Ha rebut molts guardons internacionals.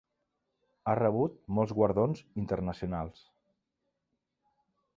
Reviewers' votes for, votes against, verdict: 3, 0, accepted